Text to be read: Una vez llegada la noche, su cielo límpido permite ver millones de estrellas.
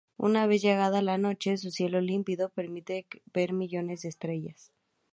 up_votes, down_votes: 2, 2